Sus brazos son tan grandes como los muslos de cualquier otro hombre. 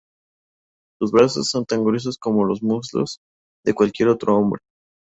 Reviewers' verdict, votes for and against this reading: rejected, 0, 2